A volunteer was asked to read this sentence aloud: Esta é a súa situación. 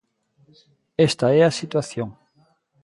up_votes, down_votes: 0, 2